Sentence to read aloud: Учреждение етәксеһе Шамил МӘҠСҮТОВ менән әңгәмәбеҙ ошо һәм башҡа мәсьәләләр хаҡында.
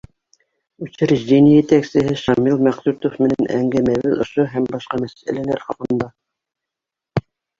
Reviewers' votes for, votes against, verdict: 1, 2, rejected